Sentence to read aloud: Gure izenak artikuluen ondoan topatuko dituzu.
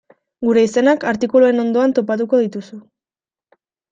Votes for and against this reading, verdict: 2, 0, accepted